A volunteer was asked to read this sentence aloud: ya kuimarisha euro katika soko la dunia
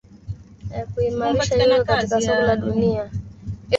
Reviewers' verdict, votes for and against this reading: rejected, 0, 3